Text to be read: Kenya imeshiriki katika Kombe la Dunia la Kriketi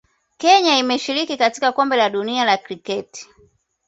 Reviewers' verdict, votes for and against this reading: accepted, 2, 0